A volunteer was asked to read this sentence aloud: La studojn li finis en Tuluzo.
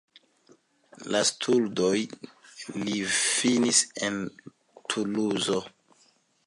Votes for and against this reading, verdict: 2, 1, accepted